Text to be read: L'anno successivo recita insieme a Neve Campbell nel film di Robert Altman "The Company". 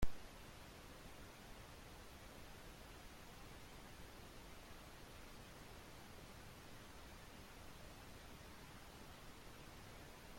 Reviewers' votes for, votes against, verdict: 0, 2, rejected